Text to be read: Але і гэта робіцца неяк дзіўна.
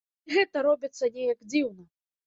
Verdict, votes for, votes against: rejected, 1, 2